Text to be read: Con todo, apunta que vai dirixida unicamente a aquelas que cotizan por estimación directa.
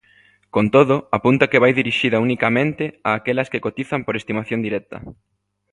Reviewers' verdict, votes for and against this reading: accepted, 2, 0